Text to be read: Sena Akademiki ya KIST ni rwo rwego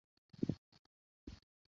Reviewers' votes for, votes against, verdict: 0, 2, rejected